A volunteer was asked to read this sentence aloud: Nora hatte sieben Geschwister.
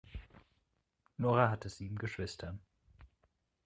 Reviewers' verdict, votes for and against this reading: accepted, 2, 0